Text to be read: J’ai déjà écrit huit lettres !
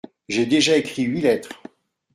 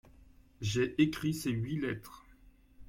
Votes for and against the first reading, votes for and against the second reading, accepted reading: 2, 0, 0, 2, first